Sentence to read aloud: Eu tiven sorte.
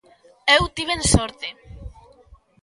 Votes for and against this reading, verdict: 2, 0, accepted